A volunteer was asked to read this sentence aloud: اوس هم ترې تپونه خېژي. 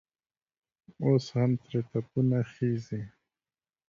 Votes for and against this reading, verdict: 2, 0, accepted